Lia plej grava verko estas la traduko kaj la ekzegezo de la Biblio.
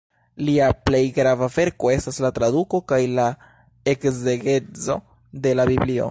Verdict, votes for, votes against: accepted, 2, 1